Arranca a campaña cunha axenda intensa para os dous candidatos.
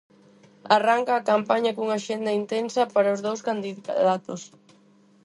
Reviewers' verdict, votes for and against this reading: rejected, 2, 4